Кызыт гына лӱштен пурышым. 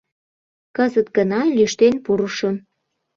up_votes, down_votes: 2, 0